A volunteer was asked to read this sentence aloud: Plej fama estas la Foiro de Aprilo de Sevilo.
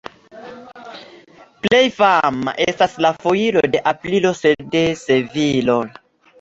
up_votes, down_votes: 2, 0